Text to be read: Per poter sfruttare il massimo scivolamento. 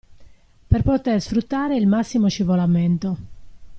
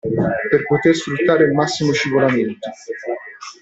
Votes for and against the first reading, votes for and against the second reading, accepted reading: 2, 0, 1, 2, first